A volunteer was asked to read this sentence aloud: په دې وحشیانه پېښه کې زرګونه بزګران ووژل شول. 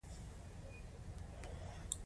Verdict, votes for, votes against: accepted, 2, 0